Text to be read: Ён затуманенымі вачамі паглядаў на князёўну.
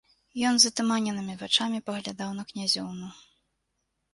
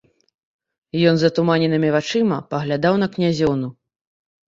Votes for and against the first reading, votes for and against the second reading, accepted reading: 2, 0, 0, 2, first